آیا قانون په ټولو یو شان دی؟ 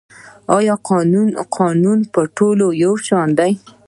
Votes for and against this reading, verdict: 2, 0, accepted